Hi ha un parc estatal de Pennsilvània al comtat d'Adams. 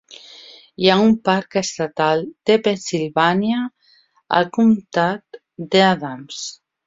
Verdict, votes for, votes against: rejected, 1, 2